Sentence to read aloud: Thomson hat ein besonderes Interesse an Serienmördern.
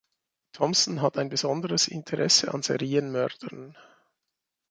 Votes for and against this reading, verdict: 2, 1, accepted